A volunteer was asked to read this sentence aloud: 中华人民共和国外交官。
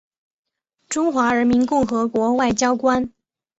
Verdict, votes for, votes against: accepted, 2, 0